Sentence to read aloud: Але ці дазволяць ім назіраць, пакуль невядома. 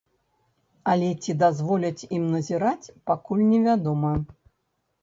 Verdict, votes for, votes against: rejected, 1, 2